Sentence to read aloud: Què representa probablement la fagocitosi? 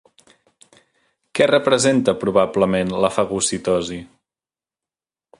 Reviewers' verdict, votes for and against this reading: accepted, 3, 0